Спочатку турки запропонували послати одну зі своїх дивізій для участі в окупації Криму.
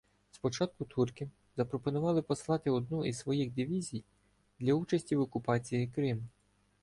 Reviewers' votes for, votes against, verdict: 0, 2, rejected